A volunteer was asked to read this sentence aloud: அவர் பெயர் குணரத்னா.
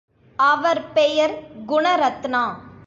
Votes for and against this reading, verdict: 3, 0, accepted